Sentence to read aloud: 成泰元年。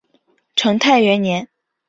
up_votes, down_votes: 2, 0